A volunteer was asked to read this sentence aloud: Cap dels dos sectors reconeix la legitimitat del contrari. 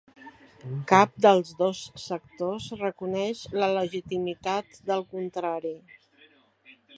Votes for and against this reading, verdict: 3, 0, accepted